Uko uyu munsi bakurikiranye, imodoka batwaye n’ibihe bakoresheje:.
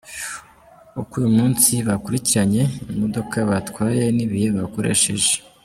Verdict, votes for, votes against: accepted, 3, 2